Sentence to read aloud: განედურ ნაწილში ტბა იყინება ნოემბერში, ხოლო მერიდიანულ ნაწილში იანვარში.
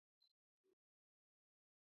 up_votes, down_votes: 1, 2